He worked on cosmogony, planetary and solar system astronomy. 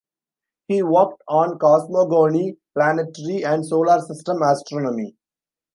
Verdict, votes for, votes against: rejected, 1, 2